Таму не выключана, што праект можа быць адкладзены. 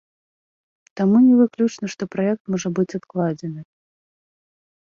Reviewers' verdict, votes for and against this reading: rejected, 0, 2